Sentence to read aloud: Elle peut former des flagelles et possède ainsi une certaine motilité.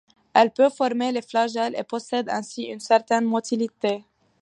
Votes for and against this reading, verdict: 1, 2, rejected